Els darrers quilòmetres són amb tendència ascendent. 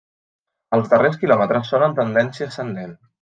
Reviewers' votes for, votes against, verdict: 2, 0, accepted